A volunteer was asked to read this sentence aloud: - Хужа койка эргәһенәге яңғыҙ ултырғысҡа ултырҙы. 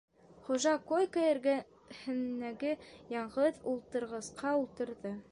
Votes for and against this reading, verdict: 0, 2, rejected